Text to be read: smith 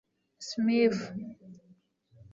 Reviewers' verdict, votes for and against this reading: rejected, 1, 2